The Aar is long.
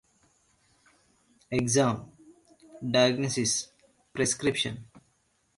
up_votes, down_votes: 0, 2